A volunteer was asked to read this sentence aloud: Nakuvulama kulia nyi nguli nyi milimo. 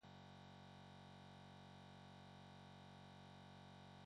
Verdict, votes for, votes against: rejected, 0, 2